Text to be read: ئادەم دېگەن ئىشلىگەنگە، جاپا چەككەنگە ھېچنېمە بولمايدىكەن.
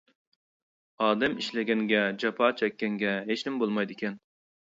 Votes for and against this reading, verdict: 0, 2, rejected